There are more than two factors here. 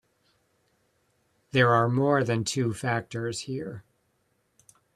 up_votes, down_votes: 2, 0